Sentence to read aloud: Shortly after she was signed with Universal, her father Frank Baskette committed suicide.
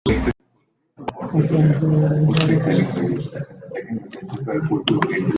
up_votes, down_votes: 0, 2